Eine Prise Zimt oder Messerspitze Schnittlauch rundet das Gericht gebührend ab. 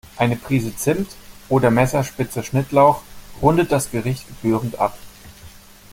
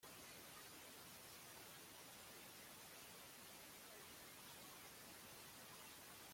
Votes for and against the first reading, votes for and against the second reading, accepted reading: 2, 0, 0, 2, first